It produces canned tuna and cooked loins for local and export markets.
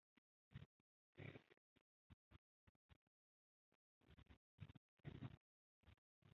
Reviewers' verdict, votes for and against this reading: rejected, 0, 2